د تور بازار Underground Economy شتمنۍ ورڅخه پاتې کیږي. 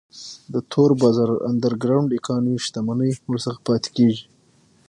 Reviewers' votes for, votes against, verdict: 6, 0, accepted